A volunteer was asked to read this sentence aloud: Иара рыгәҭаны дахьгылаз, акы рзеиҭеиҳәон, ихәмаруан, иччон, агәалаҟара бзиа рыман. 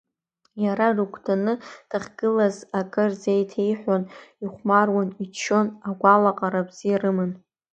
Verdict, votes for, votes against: accepted, 2, 0